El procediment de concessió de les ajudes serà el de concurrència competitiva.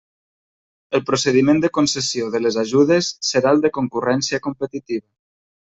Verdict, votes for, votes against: accepted, 2, 1